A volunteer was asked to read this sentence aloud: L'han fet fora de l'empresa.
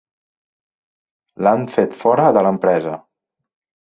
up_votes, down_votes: 2, 0